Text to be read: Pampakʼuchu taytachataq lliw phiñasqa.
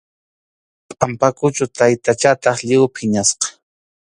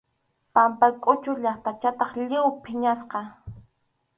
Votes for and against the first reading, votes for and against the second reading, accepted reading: 2, 0, 0, 2, first